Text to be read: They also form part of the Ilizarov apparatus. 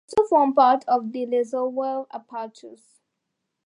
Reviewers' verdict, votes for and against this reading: rejected, 0, 2